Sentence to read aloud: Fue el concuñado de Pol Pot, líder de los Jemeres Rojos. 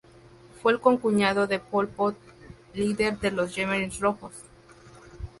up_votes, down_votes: 0, 2